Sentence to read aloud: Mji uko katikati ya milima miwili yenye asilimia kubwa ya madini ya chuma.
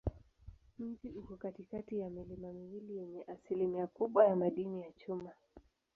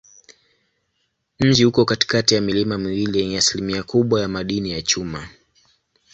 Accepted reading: second